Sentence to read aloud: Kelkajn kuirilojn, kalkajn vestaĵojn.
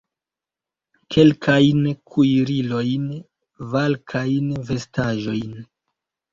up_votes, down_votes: 0, 2